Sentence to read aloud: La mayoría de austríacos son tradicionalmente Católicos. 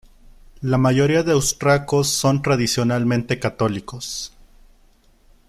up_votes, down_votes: 1, 2